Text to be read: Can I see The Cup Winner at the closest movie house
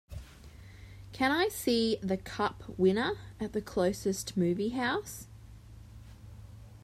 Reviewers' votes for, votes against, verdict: 2, 0, accepted